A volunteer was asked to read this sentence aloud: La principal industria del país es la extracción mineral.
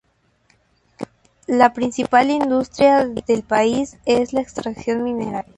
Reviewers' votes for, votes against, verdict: 2, 0, accepted